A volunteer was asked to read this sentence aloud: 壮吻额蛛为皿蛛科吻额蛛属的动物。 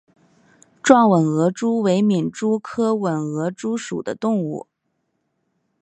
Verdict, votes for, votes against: accepted, 2, 0